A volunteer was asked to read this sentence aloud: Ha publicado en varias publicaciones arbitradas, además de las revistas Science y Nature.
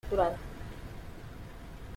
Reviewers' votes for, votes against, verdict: 0, 2, rejected